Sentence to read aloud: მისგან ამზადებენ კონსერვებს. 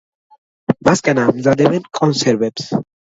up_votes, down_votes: 2, 1